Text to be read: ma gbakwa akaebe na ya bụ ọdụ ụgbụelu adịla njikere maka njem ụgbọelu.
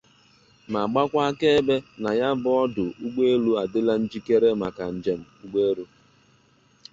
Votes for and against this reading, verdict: 2, 0, accepted